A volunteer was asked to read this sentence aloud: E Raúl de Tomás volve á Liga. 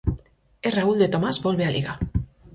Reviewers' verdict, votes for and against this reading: accepted, 4, 0